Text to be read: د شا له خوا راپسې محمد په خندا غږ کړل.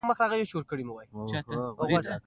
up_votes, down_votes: 0, 2